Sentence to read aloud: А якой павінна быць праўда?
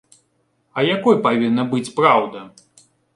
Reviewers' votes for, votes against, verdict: 2, 0, accepted